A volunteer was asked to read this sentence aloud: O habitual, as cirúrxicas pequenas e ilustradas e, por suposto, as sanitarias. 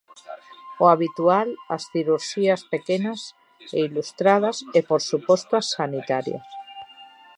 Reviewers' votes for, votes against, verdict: 0, 2, rejected